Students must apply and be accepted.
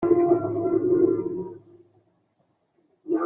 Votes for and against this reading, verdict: 0, 2, rejected